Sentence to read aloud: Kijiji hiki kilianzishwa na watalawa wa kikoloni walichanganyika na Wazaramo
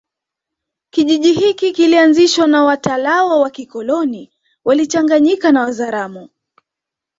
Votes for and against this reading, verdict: 2, 0, accepted